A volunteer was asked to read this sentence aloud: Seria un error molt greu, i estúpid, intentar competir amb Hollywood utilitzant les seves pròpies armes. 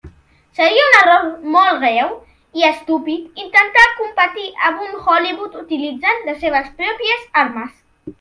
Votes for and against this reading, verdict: 1, 2, rejected